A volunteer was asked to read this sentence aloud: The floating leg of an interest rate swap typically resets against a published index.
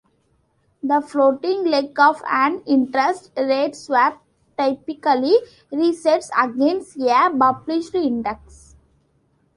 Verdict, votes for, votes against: rejected, 1, 3